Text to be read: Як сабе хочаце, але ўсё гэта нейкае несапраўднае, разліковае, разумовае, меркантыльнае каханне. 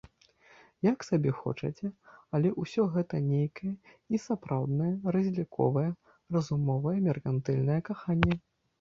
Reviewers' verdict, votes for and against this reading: rejected, 0, 2